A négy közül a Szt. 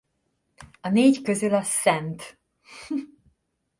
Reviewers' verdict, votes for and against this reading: rejected, 1, 2